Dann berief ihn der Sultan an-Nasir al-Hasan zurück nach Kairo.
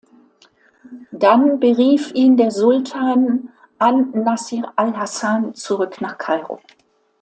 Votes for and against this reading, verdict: 2, 0, accepted